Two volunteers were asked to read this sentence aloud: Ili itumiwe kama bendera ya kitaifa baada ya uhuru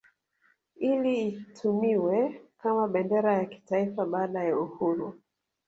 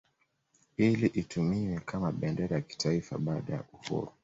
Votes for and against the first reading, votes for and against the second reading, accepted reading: 1, 2, 2, 0, second